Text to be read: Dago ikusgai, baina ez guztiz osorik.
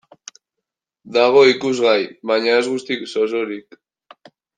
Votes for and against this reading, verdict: 2, 1, accepted